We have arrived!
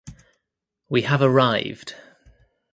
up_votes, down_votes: 2, 0